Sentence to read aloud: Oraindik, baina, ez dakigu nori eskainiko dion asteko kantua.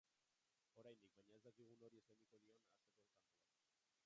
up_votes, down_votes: 0, 3